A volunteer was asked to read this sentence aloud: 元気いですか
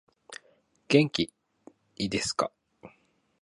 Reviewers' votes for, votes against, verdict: 2, 0, accepted